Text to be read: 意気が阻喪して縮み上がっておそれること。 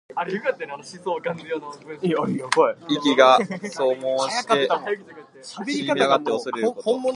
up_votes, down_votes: 1, 2